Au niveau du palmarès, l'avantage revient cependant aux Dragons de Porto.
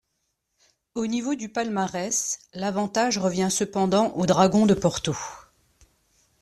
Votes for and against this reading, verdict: 2, 0, accepted